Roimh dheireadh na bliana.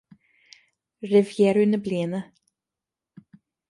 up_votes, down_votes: 2, 0